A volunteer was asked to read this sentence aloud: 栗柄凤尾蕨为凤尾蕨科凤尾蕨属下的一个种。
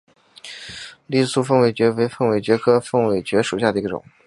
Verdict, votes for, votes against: accepted, 2, 0